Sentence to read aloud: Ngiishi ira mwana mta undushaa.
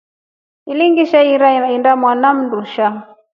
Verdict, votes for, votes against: accepted, 2, 1